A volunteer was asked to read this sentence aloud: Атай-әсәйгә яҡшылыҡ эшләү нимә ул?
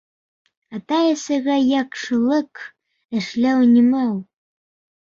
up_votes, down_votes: 1, 2